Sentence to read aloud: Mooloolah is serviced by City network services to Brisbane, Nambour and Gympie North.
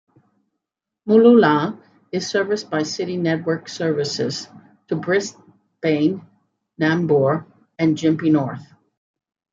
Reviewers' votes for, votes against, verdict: 0, 2, rejected